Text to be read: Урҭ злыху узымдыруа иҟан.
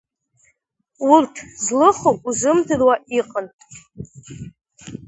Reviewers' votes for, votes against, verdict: 2, 0, accepted